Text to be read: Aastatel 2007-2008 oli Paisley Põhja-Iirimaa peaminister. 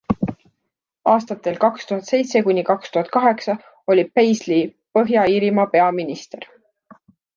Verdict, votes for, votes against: rejected, 0, 2